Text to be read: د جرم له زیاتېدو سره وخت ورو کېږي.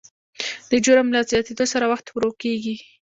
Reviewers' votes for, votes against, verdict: 2, 0, accepted